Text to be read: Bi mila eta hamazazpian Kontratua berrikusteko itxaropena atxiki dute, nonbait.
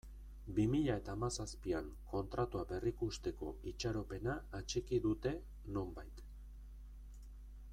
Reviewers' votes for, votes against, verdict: 2, 0, accepted